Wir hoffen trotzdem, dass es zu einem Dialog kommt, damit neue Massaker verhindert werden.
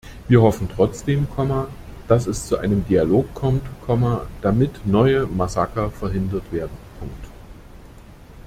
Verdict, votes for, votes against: rejected, 0, 2